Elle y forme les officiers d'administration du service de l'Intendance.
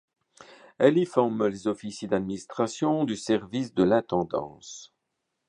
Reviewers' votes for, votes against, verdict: 3, 0, accepted